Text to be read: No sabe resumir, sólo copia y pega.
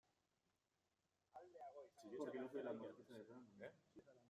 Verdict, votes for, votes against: rejected, 0, 2